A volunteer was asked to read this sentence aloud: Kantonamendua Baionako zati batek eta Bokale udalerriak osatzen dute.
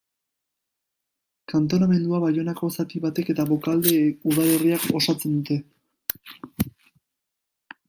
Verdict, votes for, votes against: rejected, 1, 2